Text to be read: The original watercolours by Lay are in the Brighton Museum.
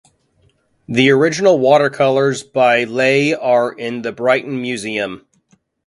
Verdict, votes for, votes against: accepted, 2, 0